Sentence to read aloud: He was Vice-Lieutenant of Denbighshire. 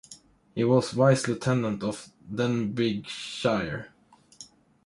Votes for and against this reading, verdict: 2, 0, accepted